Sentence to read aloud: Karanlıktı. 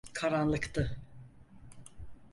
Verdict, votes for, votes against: accepted, 4, 0